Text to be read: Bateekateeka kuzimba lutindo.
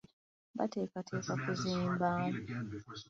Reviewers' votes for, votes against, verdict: 1, 2, rejected